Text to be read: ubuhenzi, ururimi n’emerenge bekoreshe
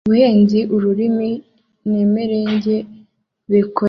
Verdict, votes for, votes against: rejected, 1, 2